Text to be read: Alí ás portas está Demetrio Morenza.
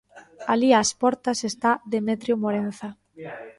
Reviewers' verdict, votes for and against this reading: rejected, 0, 2